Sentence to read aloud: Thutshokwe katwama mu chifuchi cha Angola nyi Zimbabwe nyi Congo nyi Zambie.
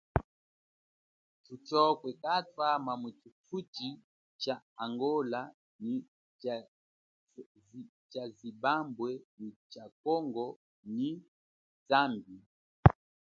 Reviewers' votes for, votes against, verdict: 1, 2, rejected